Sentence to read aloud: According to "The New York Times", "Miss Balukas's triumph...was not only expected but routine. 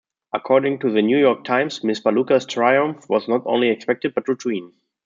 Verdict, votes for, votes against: rejected, 0, 2